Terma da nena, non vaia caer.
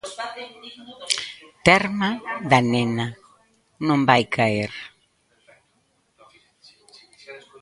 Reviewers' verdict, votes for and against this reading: rejected, 0, 2